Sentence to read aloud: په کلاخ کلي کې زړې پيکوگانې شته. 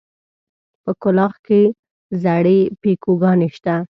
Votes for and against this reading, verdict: 0, 2, rejected